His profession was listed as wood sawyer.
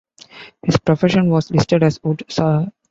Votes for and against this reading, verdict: 2, 1, accepted